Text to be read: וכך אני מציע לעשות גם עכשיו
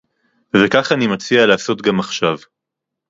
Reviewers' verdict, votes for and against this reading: accepted, 2, 0